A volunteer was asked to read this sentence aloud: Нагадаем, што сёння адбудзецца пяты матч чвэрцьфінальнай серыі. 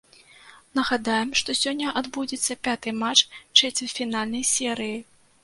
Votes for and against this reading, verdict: 0, 2, rejected